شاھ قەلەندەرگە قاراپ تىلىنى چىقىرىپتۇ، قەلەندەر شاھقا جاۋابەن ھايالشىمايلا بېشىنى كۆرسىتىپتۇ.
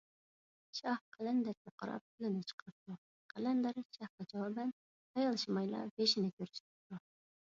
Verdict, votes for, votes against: rejected, 0, 2